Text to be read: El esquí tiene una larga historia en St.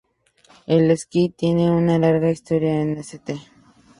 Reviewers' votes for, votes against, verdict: 0, 2, rejected